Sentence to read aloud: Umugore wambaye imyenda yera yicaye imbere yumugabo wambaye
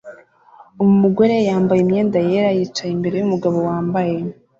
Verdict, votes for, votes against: rejected, 0, 2